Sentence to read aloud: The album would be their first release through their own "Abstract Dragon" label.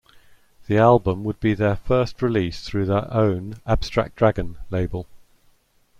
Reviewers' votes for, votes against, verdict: 2, 0, accepted